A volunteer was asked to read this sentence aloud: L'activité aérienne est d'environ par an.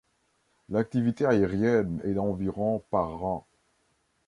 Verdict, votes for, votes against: accepted, 2, 1